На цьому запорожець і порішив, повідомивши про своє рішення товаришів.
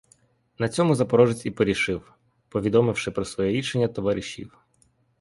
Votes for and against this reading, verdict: 2, 0, accepted